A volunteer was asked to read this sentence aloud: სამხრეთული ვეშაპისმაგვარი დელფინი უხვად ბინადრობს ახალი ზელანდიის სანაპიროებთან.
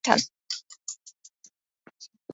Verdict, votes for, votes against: rejected, 0, 2